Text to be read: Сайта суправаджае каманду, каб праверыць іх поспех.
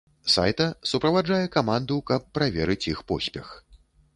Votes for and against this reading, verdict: 2, 0, accepted